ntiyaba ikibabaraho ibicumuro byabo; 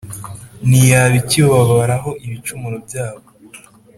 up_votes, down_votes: 3, 0